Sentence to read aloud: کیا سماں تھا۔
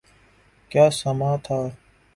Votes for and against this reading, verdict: 5, 0, accepted